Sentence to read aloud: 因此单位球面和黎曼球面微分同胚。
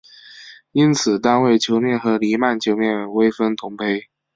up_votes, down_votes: 4, 0